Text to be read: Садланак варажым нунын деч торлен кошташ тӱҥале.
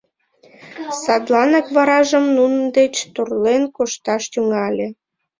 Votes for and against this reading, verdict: 0, 2, rejected